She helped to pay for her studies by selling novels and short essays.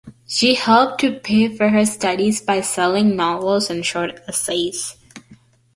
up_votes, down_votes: 2, 0